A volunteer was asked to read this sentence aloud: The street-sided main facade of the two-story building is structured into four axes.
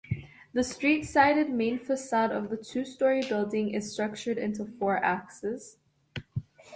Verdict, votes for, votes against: accepted, 2, 0